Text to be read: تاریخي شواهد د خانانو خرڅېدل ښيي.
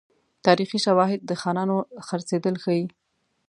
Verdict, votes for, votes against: accepted, 2, 0